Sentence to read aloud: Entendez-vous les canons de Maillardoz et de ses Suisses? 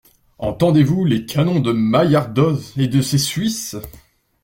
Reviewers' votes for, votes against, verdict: 2, 0, accepted